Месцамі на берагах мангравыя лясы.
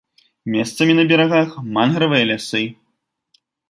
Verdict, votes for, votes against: accepted, 2, 0